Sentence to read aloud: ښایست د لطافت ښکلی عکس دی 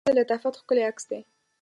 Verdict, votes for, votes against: rejected, 1, 2